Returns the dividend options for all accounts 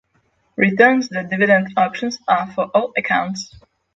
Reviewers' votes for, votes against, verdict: 3, 3, rejected